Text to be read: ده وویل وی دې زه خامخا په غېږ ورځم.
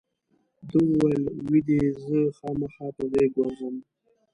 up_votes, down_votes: 1, 2